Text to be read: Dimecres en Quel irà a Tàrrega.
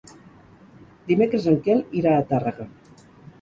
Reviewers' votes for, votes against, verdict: 4, 0, accepted